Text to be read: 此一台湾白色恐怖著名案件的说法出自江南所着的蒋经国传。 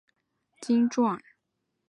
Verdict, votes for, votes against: rejected, 0, 2